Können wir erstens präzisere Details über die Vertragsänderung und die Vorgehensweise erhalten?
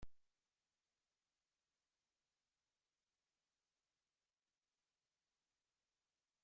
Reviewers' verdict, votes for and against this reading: rejected, 0, 2